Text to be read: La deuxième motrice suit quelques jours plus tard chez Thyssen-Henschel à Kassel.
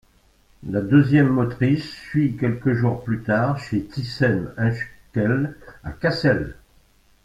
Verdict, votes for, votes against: rejected, 0, 2